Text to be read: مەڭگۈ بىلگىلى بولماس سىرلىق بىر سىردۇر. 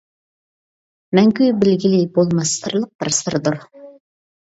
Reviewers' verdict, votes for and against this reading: rejected, 1, 2